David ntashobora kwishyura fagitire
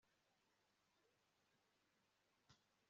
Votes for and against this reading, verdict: 1, 2, rejected